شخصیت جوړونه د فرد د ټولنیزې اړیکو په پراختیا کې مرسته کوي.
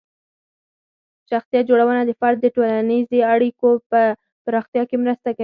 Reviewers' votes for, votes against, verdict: 0, 4, rejected